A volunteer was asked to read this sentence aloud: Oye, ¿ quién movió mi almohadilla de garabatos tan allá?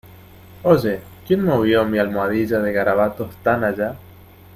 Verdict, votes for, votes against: accepted, 2, 0